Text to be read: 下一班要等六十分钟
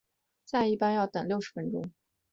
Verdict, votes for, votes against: rejected, 1, 2